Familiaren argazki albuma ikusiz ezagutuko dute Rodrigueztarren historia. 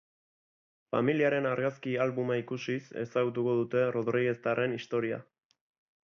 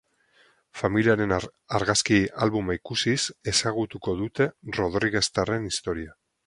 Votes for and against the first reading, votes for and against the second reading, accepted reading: 2, 0, 2, 4, first